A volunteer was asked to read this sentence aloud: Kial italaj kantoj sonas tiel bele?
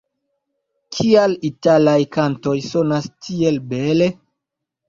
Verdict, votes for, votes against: accepted, 2, 0